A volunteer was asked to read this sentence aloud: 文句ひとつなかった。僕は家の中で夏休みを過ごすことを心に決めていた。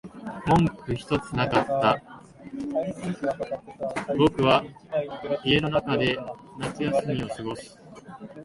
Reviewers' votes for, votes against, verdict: 0, 2, rejected